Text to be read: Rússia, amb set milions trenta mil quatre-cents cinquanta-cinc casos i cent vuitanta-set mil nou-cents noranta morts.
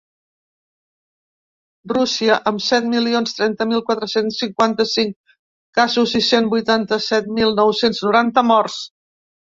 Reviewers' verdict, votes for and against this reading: accepted, 3, 0